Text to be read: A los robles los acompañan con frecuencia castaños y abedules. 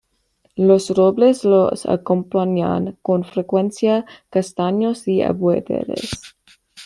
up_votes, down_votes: 1, 2